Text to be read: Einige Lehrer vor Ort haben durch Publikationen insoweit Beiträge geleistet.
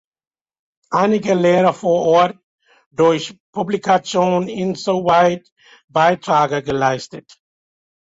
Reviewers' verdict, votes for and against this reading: rejected, 0, 2